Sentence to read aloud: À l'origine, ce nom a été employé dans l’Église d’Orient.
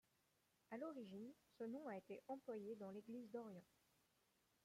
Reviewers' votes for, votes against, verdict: 1, 2, rejected